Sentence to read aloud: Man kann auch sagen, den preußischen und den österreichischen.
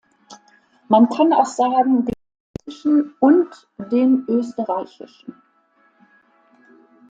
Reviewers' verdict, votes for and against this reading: rejected, 0, 2